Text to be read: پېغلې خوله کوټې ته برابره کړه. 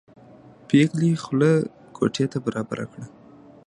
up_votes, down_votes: 2, 0